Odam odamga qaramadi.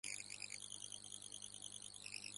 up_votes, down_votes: 0, 2